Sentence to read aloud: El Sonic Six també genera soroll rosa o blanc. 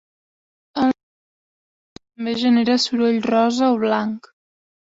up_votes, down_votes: 0, 2